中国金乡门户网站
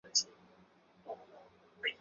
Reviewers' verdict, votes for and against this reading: accepted, 4, 0